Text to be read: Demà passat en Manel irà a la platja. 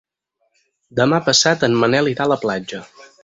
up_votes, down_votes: 0, 4